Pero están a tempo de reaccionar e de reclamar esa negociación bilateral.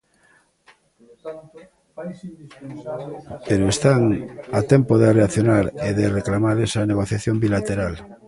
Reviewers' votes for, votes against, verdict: 0, 2, rejected